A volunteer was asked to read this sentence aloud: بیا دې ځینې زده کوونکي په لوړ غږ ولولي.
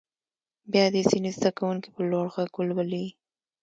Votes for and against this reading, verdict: 2, 0, accepted